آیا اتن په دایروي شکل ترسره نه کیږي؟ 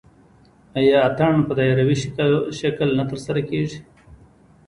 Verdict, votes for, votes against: rejected, 0, 2